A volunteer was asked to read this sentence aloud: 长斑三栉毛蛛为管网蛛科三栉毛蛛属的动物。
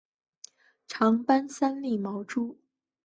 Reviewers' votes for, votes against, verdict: 5, 2, accepted